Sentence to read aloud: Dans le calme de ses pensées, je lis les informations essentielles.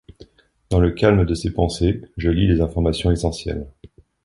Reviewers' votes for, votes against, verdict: 2, 0, accepted